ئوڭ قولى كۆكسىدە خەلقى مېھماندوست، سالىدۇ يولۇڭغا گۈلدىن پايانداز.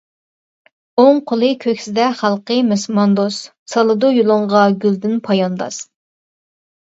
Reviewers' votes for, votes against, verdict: 1, 2, rejected